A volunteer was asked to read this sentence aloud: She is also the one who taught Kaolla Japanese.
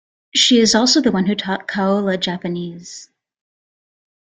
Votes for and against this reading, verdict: 2, 0, accepted